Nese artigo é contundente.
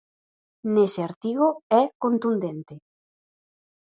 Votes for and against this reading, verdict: 4, 0, accepted